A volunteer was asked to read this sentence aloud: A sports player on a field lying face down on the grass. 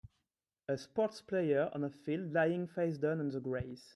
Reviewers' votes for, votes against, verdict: 2, 0, accepted